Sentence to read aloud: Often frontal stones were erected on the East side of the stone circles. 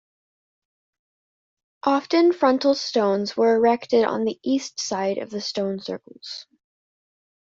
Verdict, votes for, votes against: accepted, 2, 0